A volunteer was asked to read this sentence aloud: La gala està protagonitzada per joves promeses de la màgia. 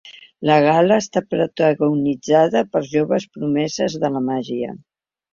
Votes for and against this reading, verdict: 2, 0, accepted